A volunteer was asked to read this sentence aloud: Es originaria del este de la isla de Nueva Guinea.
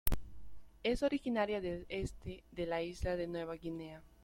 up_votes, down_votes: 2, 1